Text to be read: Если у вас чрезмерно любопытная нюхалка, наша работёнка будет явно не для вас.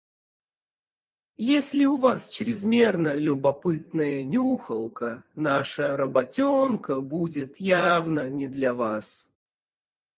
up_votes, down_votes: 0, 4